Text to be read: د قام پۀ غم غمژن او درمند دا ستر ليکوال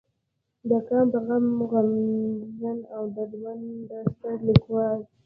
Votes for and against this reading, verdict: 0, 2, rejected